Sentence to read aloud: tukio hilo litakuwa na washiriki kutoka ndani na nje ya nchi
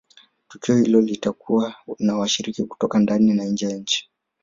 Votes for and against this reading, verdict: 0, 2, rejected